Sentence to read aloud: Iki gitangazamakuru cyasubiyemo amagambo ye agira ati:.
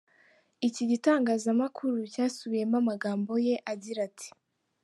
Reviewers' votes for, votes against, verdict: 2, 0, accepted